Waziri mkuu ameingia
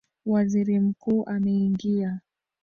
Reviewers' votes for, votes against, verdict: 1, 3, rejected